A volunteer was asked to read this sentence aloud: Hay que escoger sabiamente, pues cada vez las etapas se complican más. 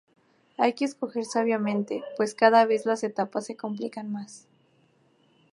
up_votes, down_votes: 2, 0